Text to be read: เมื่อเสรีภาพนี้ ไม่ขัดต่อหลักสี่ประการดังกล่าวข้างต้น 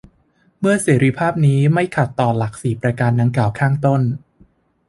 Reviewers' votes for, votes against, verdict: 2, 0, accepted